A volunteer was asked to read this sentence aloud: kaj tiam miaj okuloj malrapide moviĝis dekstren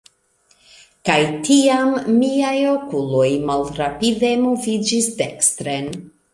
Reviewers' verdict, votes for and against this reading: accepted, 2, 0